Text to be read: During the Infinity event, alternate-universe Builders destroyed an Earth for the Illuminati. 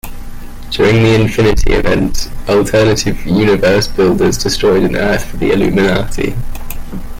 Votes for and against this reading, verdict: 0, 2, rejected